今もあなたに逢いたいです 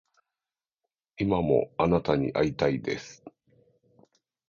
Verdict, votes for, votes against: rejected, 1, 2